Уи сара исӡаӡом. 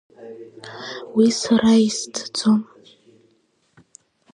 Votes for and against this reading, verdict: 2, 0, accepted